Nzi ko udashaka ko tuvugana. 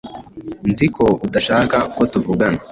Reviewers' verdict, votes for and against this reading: accepted, 2, 0